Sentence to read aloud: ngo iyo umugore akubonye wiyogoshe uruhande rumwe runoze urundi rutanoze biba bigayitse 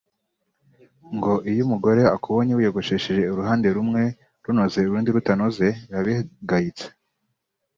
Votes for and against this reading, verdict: 2, 1, accepted